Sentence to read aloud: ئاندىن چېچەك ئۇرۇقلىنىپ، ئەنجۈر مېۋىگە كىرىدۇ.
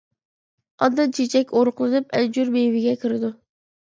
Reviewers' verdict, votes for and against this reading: rejected, 0, 2